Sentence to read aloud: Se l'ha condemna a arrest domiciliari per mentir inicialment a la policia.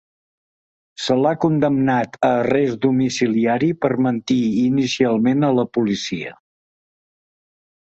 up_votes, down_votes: 1, 2